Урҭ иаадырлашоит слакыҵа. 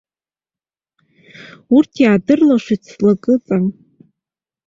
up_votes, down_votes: 2, 0